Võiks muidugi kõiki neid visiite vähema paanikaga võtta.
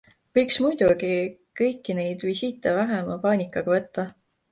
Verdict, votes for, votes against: accepted, 2, 0